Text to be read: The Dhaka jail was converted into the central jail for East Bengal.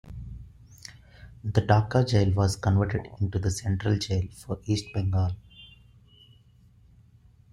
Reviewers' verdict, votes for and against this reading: rejected, 1, 2